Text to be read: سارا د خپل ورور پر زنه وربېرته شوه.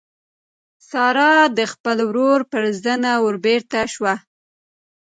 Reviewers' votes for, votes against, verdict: 1, 2, rejected